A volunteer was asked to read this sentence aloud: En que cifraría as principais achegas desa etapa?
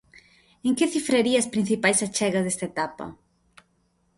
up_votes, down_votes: 1, 2